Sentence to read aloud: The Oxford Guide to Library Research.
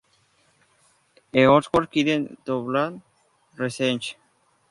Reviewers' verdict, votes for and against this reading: rejected, 0, 2